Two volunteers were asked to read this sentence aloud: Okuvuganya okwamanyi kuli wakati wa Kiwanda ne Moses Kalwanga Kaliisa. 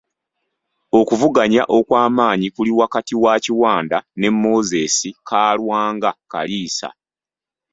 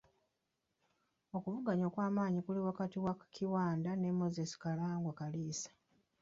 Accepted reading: first